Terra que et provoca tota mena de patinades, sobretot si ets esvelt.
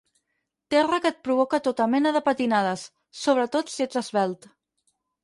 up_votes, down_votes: 6, 0